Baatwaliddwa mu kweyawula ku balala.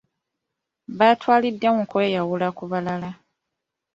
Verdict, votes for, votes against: rejected, 1, 2